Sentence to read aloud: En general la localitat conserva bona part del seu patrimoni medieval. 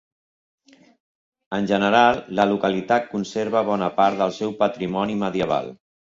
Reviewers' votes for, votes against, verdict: 4, 2, accepted